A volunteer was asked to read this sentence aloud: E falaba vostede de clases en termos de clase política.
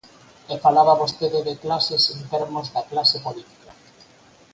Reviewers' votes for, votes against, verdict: 4, 0, accepted